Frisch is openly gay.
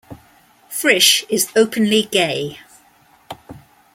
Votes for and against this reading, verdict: 2, 1, accepted